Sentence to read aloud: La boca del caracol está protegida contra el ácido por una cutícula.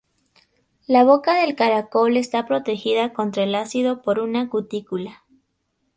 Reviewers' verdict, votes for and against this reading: accepted, 6, 0